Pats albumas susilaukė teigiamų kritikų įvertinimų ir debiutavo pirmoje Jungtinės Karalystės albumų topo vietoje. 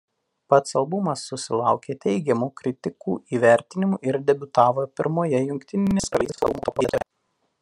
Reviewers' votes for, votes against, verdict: 1, 2, rejected